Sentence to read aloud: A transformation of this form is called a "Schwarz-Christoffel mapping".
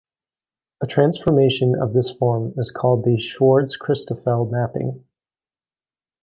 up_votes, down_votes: 2, 0